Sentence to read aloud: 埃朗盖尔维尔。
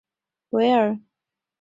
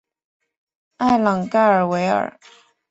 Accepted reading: second